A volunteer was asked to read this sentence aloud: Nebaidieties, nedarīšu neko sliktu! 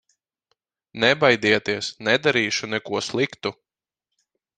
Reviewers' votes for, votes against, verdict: 4, 0, accepted